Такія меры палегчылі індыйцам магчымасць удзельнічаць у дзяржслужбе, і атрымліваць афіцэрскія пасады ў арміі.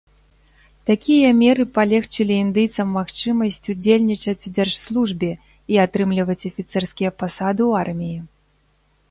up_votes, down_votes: 2, 0